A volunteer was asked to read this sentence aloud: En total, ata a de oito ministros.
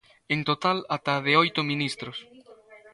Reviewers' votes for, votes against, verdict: 1, 2, rejected